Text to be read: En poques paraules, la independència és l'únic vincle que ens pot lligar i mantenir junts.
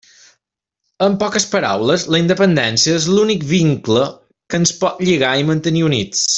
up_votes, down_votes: 1, 2